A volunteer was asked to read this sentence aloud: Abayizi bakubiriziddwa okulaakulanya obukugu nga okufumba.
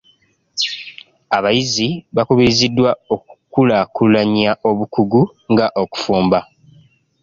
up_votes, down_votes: 0, 2